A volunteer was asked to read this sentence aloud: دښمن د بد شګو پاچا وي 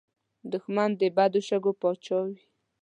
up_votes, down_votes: 2, 0